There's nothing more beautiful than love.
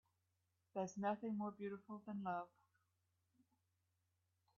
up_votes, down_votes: 3, 0